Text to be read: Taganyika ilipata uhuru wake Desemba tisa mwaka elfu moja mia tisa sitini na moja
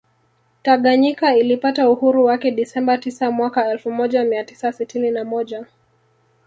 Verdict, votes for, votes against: rejected, 1, 2